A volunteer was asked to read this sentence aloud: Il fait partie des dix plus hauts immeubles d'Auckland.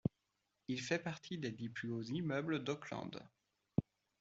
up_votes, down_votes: 2, 0